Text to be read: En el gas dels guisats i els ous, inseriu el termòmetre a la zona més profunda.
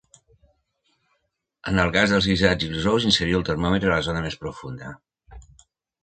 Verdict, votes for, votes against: rejected, 1, 2